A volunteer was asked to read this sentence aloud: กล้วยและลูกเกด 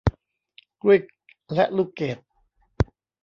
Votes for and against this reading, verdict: 1, 2, rejected